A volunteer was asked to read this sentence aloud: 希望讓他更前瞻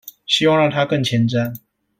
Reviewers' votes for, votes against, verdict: 2, 0, accepted